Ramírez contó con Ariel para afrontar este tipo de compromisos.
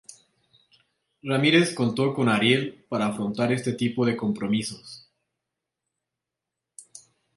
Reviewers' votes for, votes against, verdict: 2, 0, accepted